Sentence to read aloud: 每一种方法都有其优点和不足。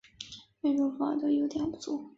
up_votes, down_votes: 3, 4